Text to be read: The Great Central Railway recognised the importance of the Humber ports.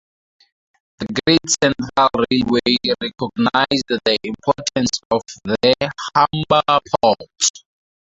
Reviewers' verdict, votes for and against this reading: rejected, 0, 2